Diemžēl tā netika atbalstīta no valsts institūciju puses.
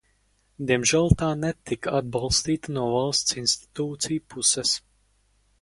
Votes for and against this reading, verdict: 4, 0, accepted